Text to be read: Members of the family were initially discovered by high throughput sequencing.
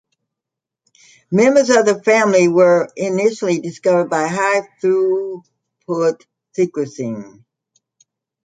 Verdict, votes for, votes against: accepted, 2, 1